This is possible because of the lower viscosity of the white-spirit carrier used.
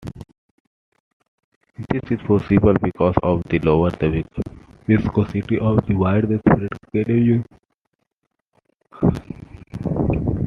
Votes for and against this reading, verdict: 0, 2, rejected